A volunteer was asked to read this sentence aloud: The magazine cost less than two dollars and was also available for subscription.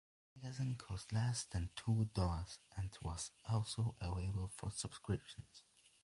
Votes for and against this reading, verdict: 0, 2, rejected